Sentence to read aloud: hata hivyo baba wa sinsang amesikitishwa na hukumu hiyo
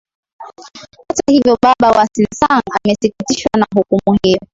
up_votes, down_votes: 2, 1